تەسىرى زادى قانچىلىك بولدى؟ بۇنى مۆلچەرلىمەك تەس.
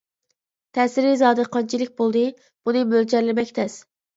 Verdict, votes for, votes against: accepted, 2, 0